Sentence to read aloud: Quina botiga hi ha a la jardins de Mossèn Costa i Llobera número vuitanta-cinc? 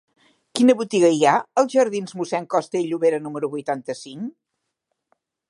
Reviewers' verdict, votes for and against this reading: rejected, 1, 2